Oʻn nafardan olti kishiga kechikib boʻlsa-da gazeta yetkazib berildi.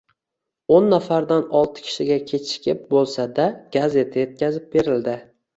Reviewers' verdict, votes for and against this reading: accepted, 2, 0